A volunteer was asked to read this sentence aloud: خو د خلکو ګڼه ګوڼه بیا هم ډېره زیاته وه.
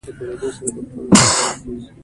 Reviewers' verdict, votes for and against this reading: accepted, 2, 1